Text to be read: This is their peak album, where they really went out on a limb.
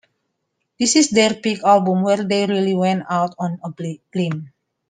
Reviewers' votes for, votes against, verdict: 2, 1, accepted